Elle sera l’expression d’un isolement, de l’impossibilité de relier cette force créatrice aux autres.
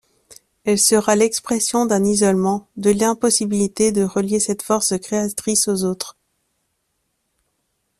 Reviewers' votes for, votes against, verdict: 2, 0, accepted